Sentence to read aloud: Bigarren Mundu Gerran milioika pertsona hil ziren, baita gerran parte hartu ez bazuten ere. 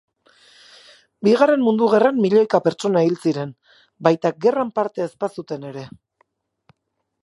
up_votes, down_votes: 0, 2